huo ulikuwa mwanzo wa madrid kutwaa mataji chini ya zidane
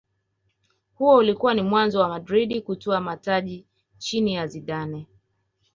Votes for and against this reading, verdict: 2, 0, accepted